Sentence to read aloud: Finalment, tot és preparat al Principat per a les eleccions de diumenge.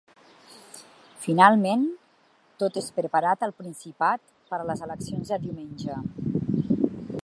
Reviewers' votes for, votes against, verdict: 3, 0, accepted